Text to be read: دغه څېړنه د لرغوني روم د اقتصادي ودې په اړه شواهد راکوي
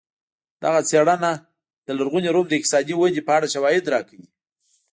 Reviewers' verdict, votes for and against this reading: accepted, 2, 0